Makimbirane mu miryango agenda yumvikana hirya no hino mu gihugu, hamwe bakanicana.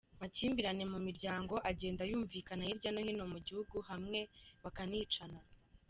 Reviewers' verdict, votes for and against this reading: accepted, 2, 0